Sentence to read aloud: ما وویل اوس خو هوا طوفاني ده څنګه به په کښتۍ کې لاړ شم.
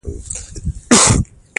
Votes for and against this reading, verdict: 0, 2, rejected